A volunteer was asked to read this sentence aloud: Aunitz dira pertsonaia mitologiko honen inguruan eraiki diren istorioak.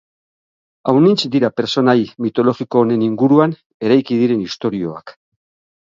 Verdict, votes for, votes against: rejected, 3, 6